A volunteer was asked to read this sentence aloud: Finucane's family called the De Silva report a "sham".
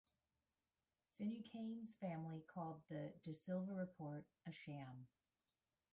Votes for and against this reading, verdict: 2, 1, accepted